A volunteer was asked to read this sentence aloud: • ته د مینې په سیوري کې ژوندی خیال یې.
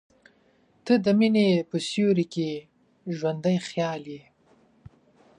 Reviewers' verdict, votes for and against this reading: accepted, 2, 1